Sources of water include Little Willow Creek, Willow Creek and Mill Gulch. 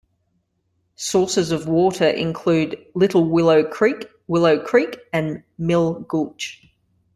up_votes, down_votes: 2, 0